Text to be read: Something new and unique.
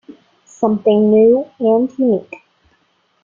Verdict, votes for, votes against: accepted, 2, 0